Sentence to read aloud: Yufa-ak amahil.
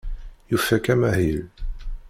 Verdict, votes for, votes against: rejected, 1, 2